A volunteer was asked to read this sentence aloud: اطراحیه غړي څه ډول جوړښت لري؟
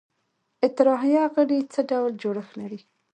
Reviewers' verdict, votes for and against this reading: accepted, 2, 0